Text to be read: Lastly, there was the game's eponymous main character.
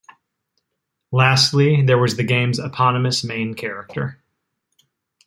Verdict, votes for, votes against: accepted, 3, 0